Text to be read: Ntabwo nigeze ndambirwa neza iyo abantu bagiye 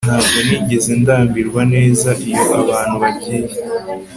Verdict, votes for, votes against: accepted, 3, 0